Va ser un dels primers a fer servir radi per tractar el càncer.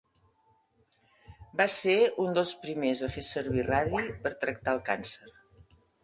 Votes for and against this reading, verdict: 2, 0, accepted